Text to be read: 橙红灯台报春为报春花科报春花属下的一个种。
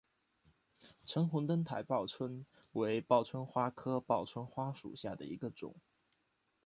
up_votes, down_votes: 2, 0